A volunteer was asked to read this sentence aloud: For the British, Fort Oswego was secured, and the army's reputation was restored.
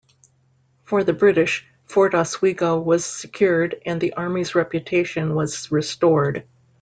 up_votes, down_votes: 2, 0